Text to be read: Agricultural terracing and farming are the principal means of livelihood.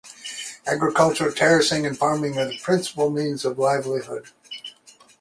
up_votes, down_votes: 2, 0